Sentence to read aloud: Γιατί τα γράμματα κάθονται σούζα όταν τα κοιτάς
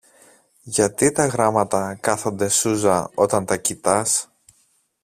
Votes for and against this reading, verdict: 2, 0, accepted